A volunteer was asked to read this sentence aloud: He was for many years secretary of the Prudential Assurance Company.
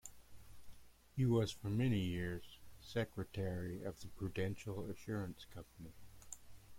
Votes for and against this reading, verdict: 2, 0, accepted